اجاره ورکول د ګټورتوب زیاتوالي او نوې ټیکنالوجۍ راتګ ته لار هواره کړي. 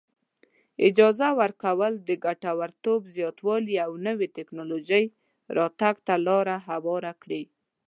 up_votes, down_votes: 0, 2